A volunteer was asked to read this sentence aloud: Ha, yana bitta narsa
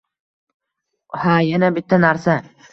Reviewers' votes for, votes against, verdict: 2, 1, accepted